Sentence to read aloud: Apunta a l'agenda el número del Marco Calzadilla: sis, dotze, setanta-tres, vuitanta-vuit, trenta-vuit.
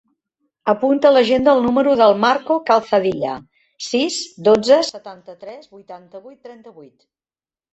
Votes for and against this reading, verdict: 0, 2, rejected